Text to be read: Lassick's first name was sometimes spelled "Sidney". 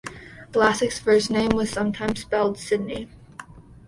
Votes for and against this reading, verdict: 2, 0, accepted